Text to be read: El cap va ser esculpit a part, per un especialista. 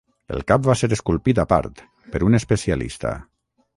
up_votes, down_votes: 9, 0